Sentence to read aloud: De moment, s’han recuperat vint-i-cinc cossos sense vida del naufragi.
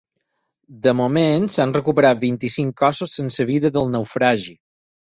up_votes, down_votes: 8, 0